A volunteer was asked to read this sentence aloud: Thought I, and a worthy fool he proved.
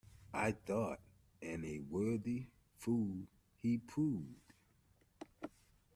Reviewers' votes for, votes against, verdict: 0, 2, rejected